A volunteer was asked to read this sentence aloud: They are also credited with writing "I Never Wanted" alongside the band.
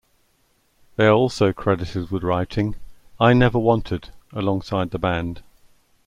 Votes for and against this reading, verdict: 2, 0, accepted